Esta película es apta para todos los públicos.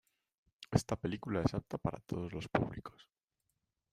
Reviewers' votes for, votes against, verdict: 2, 0, accepted